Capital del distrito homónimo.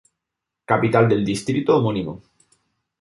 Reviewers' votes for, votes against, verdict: 2, 0, accepted